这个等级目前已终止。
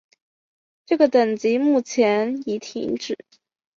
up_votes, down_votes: 2, 3